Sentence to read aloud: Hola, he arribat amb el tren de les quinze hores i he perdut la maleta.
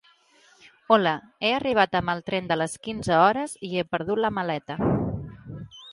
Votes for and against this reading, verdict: 2, 0, accepted